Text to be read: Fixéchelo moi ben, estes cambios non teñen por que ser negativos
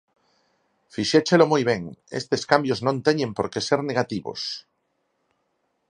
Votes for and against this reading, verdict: 4, 0, accepted